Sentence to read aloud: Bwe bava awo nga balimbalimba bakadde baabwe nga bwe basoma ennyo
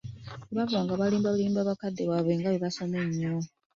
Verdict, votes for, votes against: accepted, 2, 0